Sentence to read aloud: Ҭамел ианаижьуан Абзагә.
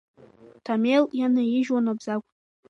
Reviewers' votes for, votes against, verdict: 2, 0, accepted